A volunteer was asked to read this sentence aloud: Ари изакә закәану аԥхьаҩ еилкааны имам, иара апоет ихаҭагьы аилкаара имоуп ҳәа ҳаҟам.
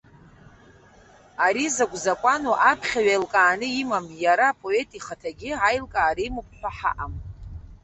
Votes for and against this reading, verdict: 1, 2, rejected